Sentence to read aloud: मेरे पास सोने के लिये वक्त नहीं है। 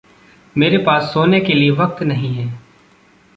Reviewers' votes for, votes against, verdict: 0, 2, rejected